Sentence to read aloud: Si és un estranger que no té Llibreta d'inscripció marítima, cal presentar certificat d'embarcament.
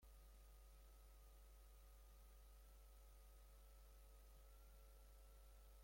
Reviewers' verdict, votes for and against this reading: rejected, 0, 3